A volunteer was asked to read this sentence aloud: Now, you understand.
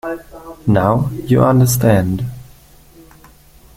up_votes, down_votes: 2, 0